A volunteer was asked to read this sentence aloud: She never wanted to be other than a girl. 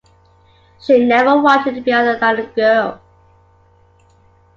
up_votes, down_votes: 1, 2